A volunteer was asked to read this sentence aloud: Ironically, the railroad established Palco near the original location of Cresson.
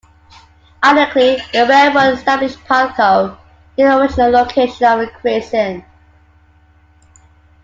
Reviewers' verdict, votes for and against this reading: accepted, 2, 1